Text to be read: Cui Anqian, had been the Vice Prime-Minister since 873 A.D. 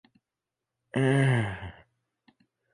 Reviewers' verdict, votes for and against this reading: rejected, 0, 2